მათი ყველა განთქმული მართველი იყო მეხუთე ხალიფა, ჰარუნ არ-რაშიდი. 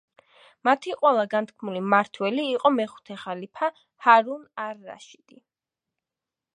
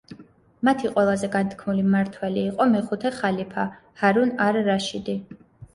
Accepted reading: first